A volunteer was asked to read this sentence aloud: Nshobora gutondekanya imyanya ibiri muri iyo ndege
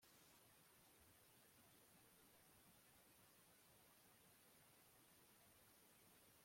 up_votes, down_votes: 1, 2